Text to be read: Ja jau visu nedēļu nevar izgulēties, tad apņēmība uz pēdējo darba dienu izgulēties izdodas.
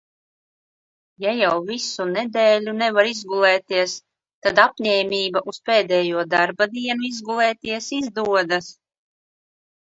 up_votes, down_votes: 2, 0